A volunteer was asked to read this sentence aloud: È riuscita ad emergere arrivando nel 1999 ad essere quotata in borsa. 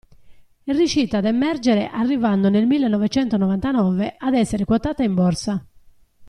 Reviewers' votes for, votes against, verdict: 0, 2, rejected